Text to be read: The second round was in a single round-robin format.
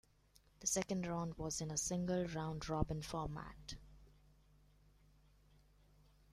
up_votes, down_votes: 2, 0